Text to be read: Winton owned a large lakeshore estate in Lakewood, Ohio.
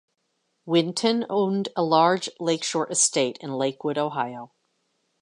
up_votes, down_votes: 2, 0